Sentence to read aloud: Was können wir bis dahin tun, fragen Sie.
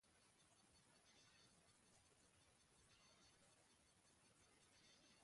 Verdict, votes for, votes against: rejected, 0, 2